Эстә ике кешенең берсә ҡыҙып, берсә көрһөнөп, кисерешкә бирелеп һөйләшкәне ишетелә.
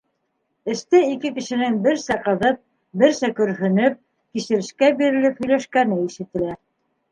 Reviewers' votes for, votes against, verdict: 2, 0, accepted